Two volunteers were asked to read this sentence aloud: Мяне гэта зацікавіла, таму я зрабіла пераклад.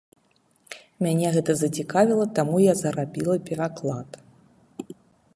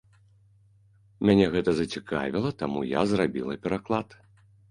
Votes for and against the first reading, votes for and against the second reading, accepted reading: 0, 2, 2, 0, second